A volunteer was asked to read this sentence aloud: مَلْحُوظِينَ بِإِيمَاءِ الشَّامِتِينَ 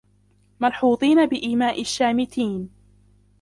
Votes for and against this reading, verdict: 2, 1, accepted